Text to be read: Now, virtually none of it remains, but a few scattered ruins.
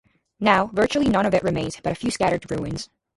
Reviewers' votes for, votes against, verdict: 2, 0, accepted